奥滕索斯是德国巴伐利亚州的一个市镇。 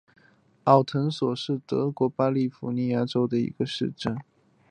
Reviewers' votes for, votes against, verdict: 2, 0, accepted